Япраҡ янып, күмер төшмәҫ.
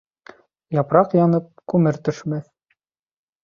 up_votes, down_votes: 2, 1